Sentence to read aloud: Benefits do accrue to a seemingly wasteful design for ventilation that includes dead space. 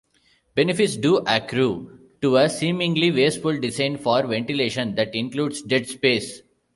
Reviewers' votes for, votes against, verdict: 0, 2, rejected